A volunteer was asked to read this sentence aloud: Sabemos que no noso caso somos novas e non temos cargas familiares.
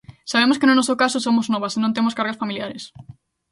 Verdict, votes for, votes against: accepted, 2, 0